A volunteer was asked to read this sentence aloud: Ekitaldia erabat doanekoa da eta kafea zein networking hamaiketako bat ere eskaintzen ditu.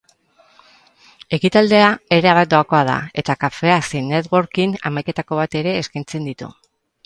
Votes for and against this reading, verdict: 4, 6, rejected